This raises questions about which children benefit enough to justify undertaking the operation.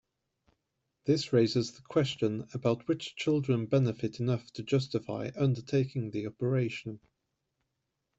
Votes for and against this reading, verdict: 1, 2, rejected